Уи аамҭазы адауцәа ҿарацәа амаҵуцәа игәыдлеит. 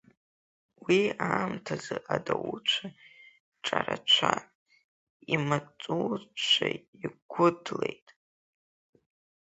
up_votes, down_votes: 0, 2